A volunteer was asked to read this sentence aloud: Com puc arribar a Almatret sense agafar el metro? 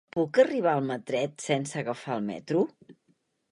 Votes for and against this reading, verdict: 0, 2, rejected